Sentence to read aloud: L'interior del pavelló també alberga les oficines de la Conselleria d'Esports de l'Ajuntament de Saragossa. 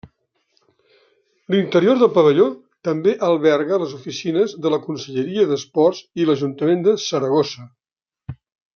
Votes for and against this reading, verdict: 0, 2, rejected